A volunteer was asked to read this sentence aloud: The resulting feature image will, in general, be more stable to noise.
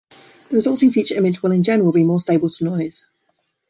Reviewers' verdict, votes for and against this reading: rejected, 0, 2